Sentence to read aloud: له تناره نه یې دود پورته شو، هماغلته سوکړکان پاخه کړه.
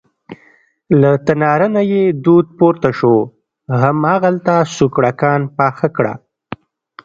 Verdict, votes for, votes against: accepted, 2, 0